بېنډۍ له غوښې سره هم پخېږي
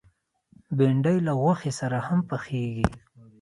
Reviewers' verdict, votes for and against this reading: accepted, 2, 0